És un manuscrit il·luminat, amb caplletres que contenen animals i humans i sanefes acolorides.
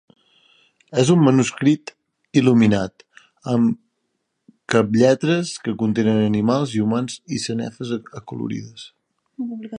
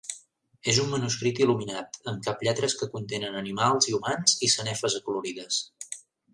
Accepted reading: second